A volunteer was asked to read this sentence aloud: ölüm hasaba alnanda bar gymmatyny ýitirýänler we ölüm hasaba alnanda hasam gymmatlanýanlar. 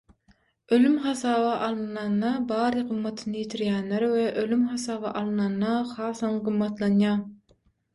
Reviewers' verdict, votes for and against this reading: rejected, 0, 6